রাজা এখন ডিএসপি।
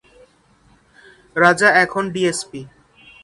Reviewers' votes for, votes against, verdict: 2, 0, accepted